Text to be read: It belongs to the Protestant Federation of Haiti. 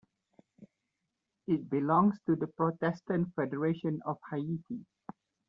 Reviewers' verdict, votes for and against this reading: rejected, 0, 2